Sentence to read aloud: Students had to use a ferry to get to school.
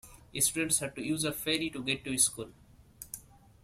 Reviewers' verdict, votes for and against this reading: rejected, 1, 2